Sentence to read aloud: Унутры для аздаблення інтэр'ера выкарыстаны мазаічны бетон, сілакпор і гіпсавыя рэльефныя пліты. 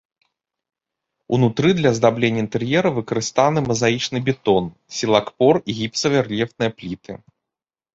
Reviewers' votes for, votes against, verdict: 1, 2, rejected